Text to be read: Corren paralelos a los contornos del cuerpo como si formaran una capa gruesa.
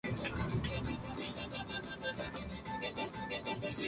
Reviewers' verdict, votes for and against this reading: rejected, 0, 2